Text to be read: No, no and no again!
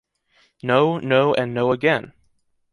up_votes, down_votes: 2, 0